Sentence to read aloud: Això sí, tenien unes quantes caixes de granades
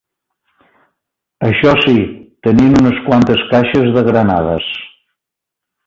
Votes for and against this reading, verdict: 0, 2, rejected